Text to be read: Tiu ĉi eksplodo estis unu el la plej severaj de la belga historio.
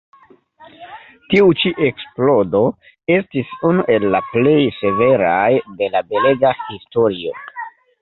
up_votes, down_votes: 1, 2